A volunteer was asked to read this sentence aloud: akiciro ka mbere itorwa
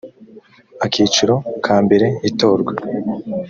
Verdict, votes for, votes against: accepted, 2, 0